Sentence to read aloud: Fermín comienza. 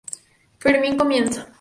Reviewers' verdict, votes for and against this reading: accepted, 4, 0